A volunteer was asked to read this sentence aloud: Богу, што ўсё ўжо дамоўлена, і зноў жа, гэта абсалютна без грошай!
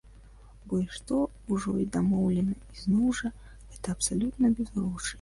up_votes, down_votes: 1, 2